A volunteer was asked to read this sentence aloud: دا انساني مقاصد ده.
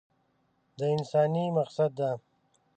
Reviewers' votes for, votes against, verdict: 0, 2, rejected